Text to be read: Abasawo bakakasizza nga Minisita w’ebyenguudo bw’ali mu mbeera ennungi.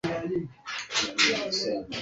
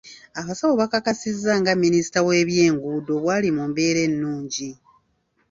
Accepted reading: second